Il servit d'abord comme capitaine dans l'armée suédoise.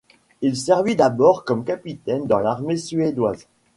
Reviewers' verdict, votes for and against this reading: accepted, 2, 0